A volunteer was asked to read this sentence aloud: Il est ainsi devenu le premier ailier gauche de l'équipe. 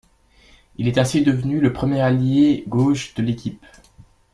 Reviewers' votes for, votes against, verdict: 1, 2, rejected